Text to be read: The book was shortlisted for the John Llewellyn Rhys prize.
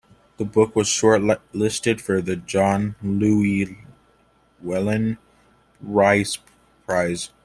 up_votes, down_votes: 2, 0